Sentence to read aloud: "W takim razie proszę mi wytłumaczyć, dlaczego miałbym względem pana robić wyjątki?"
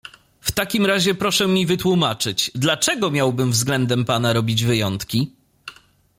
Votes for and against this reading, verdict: 2, 0, accepted